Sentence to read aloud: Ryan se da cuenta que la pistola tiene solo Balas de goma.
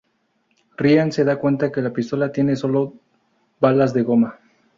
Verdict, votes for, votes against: accepted, 2, 0